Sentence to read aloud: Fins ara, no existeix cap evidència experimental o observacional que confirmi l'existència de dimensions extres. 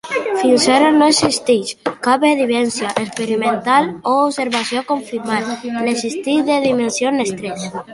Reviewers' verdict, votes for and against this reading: rejected, 0, 2